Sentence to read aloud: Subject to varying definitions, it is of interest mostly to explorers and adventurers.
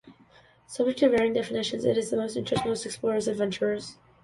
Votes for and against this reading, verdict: 0, 2, rejected